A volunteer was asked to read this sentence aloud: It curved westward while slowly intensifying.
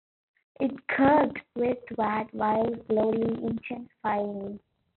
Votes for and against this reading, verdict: 2, 0, accepted